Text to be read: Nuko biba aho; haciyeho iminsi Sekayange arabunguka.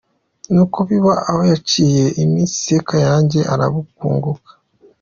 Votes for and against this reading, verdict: 2, 0, accepted